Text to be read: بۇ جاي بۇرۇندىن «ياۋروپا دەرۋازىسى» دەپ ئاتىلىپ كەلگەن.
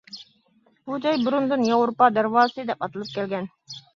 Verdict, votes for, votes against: accepted, 2, 0